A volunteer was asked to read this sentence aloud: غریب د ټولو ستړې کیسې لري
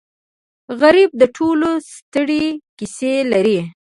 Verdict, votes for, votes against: rejected, 1, 2